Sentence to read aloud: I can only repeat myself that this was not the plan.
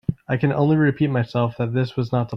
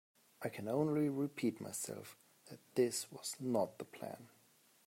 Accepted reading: second